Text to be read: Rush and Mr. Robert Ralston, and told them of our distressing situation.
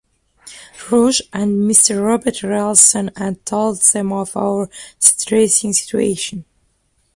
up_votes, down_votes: 1, 2